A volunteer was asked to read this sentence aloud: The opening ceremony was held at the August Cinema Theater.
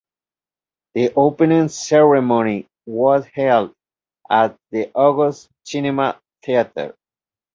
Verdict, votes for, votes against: accepted, 2, 0